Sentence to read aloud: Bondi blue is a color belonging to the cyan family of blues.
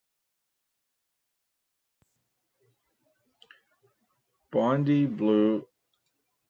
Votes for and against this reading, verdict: 0, 3, rejected